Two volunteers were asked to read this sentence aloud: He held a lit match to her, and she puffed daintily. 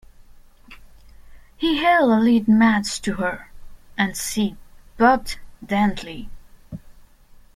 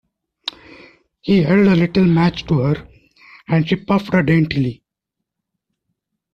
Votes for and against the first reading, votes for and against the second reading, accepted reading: 2, 1, 0, 2, first